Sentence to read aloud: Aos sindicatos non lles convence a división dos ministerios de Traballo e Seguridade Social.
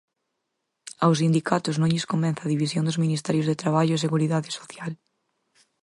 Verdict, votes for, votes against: accepted, 4, 0